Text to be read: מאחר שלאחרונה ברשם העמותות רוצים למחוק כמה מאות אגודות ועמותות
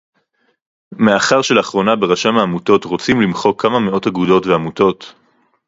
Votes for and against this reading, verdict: 2, 2, rejected